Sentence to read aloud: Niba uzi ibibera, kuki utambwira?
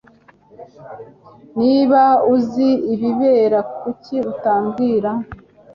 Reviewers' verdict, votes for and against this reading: accepted, 2, 0